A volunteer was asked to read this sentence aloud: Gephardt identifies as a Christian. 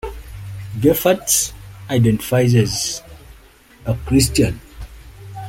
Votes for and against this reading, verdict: 2, 1, accepted